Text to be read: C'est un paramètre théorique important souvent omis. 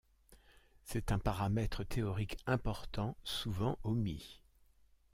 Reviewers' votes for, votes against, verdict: 1, 2, rejected